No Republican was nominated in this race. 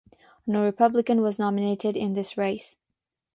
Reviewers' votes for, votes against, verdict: 6, 0, accepted